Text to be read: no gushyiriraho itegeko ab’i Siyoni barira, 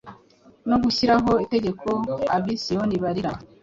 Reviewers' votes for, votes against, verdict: 2, 0, accepted